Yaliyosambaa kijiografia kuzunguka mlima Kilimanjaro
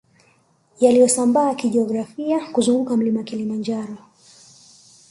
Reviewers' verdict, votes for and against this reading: accepted, 2, 0